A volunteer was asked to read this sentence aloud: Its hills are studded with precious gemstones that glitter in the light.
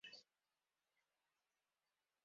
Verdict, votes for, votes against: rejected, 0, 14